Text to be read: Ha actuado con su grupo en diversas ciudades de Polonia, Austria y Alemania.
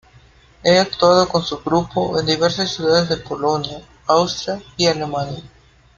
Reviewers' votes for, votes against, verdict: 1, 2, rejected